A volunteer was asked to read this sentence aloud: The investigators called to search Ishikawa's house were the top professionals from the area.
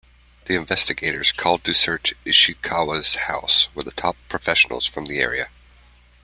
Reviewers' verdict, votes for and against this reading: accepted, 2, 0